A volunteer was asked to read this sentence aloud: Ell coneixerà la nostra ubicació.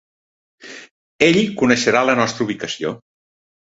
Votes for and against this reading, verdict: 3, 0, accepted